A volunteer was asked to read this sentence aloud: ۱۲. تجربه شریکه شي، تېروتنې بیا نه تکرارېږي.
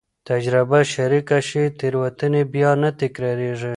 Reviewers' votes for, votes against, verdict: 0, 2, rejected